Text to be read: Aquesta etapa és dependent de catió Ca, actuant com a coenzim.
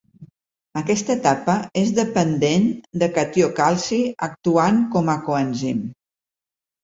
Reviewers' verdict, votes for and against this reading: rejected, 1, 2